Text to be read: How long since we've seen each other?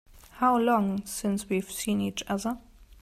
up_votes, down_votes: 2, 0